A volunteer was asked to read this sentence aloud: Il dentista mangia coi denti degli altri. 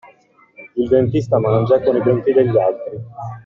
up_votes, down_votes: 0, 2